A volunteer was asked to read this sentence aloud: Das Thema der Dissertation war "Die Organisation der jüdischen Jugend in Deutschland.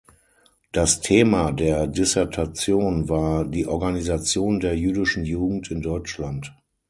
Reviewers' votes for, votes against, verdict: 9, 0, accepted